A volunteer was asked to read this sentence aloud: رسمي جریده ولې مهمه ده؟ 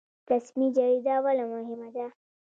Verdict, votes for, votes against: accepted, 2, 0